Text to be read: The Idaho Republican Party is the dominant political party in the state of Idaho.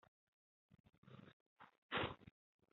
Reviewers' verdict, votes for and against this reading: rejected, 0, 2